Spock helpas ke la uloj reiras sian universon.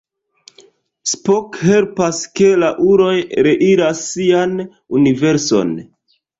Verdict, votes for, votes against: accepted, 2, 1